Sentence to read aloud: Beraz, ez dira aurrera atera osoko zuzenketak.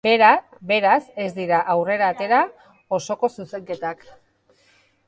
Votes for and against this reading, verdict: 0, 2, rejected